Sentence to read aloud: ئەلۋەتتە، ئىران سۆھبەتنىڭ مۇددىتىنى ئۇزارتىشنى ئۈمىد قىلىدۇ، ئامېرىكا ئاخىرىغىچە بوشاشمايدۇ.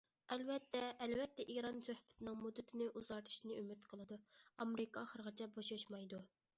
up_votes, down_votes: 0, 2